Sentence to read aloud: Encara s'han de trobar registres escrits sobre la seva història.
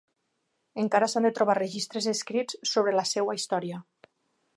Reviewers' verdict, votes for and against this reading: rejected, 1, 2